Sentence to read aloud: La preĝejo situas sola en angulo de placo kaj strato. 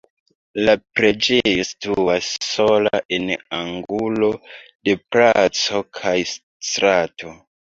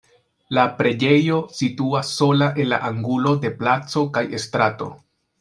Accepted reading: first